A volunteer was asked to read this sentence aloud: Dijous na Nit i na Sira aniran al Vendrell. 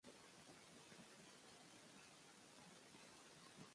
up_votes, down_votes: 0, 2